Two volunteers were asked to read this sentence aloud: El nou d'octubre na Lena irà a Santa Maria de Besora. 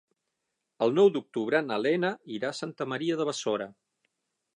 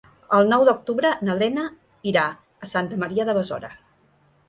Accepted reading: second